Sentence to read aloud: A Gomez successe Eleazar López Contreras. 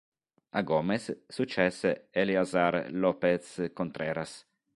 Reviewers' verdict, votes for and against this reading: accepted, 3, 0